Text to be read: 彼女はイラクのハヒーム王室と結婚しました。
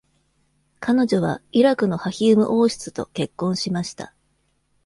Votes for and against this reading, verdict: 2, 0, accepted